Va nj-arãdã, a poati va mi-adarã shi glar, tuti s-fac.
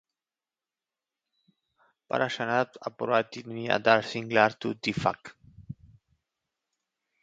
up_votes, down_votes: 1, 2